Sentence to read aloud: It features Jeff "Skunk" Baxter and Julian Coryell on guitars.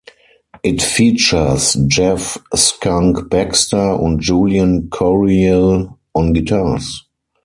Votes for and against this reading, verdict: 4, 0, accepted